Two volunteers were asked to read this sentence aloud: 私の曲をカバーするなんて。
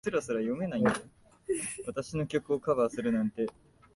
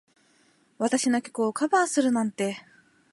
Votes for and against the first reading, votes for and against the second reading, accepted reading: 0, 2, 18, 0, second